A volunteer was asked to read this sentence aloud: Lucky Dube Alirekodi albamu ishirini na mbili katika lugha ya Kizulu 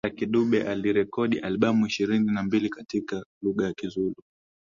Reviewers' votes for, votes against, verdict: 2, 0, accepted